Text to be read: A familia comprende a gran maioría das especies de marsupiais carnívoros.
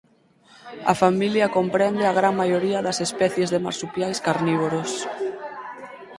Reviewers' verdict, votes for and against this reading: accepted, 4, 2